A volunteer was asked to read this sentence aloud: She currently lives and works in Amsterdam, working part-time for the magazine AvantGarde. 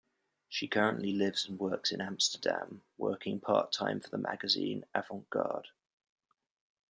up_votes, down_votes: 2, 0